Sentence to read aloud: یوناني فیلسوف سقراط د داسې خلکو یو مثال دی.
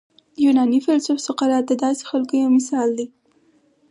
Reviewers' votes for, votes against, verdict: 2, 4, rejected